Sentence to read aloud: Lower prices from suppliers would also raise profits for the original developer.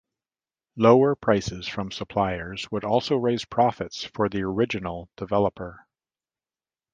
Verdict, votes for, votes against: accepted, 2, 0